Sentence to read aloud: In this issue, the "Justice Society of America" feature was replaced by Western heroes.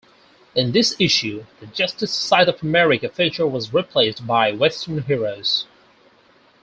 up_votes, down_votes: 4, 0